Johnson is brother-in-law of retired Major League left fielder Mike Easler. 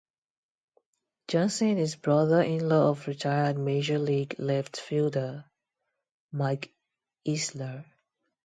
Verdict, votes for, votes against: accepted, 2, 0